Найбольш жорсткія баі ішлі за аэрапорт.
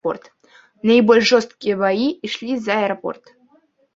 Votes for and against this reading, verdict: 0, 2, rejected